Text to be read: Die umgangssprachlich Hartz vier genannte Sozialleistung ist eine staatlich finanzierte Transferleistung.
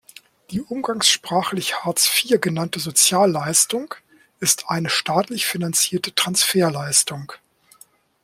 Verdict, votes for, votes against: accepted, 2, 0